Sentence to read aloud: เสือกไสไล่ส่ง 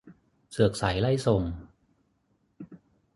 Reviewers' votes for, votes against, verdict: 6, 0, accepted